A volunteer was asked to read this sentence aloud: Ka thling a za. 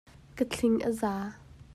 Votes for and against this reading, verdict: 2, 0, accepted